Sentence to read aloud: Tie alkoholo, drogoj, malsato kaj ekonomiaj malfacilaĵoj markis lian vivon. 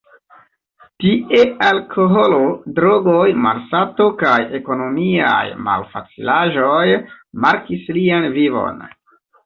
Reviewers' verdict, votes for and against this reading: accepted, 2, 1